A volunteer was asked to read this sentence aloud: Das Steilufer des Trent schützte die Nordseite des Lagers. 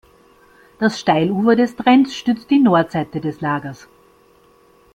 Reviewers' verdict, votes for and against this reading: rejected, 1, 2